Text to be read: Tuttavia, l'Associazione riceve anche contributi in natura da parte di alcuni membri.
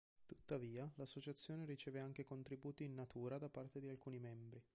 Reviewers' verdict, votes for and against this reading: accepted, 3, 2